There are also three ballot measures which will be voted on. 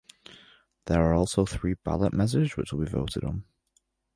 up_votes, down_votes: 1, 2